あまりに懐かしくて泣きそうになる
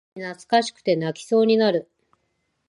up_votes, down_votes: 0, 2